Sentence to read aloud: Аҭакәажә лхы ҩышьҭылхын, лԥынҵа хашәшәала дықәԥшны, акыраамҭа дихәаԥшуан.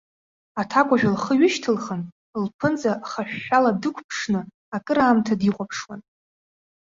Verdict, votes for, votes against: accepted, 2, 0